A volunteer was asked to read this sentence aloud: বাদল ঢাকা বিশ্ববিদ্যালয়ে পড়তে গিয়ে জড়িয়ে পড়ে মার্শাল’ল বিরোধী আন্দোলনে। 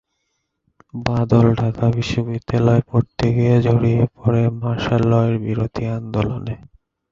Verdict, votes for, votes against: rejected, 5, 5